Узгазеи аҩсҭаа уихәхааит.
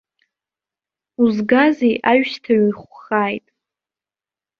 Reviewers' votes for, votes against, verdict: 2, 1, accepted